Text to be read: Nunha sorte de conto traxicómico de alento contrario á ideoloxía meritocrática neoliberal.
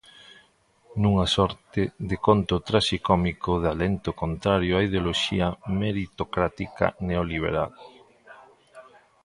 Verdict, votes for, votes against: accepted, 2, 0